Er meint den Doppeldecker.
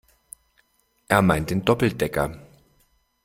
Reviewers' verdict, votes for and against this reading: accepted, 2, 0